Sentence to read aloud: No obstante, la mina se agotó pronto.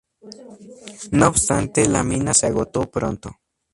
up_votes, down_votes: 2, 0